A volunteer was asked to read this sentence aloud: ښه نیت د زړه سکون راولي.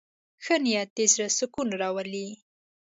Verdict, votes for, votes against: accepted, 2, 0